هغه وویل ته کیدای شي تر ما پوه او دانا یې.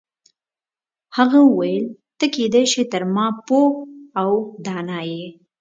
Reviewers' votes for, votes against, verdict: 2, 0, accepted